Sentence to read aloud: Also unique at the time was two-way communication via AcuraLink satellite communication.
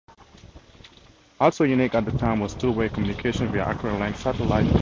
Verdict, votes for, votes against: rejected, 0, 4